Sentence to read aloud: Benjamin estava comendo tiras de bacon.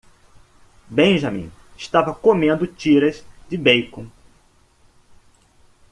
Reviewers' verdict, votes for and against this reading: rejected, 0, 2